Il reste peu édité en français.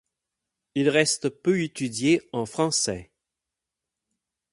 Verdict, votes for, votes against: rejected, 0, 8